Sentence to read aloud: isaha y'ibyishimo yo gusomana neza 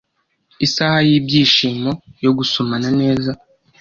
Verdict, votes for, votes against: accepted, 2, 0